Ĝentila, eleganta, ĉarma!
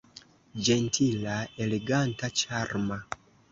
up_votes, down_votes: 2, 0